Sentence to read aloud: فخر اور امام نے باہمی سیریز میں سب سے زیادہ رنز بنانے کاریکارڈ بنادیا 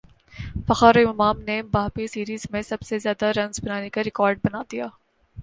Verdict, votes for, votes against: accepted, 2, 0